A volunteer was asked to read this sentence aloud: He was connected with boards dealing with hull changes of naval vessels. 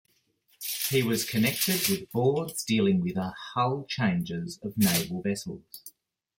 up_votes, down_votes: 1, 2